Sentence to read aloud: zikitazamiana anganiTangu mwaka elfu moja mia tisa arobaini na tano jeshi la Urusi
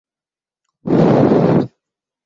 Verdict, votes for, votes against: rejected, 0, 3